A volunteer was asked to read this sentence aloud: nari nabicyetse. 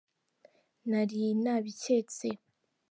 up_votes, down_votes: 2, 0